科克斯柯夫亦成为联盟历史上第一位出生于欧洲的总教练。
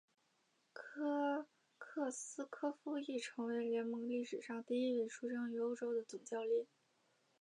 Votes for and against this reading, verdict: 0, 2, rejected